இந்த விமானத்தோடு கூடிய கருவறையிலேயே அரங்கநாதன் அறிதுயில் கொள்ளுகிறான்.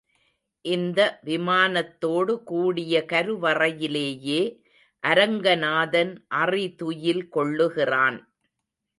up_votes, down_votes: 2, 0